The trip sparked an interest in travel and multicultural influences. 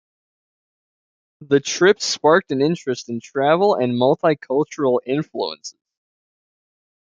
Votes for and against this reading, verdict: 2, 1, accepted